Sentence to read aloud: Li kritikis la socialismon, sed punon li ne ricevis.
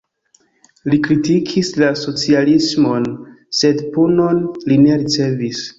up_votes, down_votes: 2, 0